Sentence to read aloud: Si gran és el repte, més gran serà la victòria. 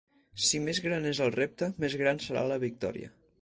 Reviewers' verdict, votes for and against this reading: rejected, 0, 4